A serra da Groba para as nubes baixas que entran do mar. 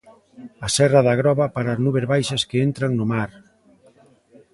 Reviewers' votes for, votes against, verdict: 0, 2, rejected